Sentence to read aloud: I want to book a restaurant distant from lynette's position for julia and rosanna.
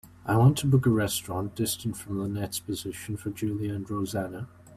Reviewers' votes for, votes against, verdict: 2, 0, accepted